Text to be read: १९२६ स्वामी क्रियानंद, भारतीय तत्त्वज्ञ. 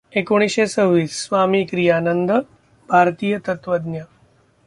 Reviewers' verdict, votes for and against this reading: rejected, 0, 2